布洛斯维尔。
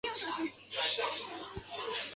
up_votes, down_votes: 1, 2